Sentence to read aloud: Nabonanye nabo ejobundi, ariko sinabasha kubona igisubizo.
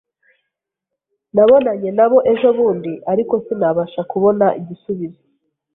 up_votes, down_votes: 0, 2